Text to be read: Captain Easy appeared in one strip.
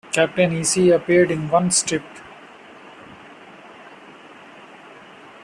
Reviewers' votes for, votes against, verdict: 2, 0, accepted